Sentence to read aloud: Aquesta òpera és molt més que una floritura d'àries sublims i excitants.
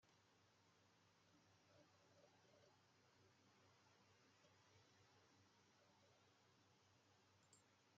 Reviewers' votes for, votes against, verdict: 1, 2, rejected